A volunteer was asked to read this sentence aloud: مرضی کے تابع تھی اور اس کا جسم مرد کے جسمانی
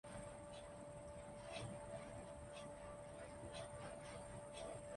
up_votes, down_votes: 0, 2